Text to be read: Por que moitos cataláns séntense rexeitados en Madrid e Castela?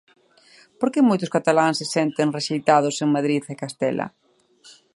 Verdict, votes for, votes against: rejected, 0, 2